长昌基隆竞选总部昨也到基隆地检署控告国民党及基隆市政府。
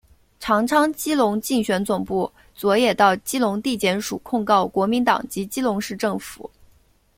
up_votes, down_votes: 2, 0